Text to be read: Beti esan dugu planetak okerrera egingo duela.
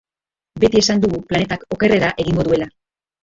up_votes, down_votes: 2, 1